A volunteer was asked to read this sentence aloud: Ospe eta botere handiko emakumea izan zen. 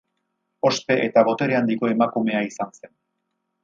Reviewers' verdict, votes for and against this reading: rejected, 0, 2